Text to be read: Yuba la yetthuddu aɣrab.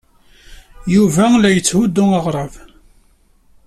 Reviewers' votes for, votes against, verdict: 2, 0, accepted